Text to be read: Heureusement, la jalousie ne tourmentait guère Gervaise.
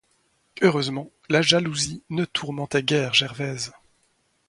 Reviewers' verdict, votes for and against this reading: accepted, 2, 0